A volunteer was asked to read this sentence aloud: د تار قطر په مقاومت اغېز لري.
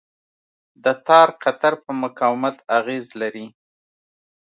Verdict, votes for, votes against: rejected, 1, 2